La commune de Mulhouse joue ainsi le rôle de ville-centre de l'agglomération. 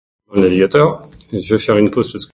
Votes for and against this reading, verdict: 0, 2, rejected